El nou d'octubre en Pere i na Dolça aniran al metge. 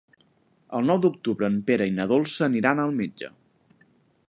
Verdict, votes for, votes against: accepted, 4, 0